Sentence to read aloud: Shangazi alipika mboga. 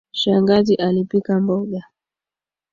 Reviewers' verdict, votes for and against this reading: accepted, 2, 0